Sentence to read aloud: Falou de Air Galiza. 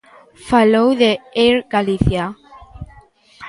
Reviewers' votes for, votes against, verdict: 1, 2, rejected